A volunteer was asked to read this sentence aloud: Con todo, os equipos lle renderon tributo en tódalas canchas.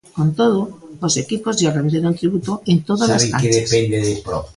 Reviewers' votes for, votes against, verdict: 0, 2, rejected